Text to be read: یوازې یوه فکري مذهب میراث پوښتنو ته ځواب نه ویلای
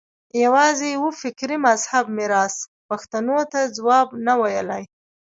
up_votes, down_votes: 1, 2